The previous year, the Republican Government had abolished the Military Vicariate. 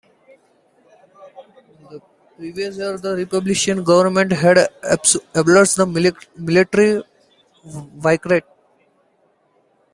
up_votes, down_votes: 0, 2